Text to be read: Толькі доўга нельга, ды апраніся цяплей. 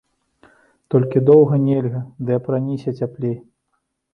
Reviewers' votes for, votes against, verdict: 2, 0, accepted